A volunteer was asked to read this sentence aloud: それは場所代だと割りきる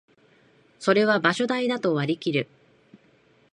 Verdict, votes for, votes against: accepted, 2, 0